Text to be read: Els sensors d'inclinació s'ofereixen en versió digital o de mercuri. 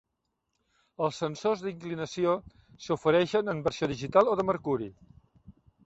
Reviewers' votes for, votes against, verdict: 4, 0, accepted